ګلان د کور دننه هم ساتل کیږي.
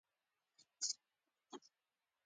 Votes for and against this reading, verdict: 2, 0, accepted